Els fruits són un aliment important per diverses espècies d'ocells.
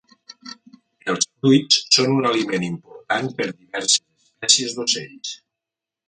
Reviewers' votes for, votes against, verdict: 1, 2, rejected